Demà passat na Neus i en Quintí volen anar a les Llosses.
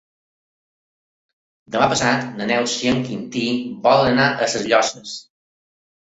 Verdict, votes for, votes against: rejected, 0, 2